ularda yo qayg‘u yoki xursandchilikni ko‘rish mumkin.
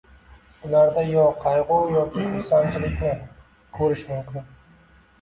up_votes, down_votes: 2, 0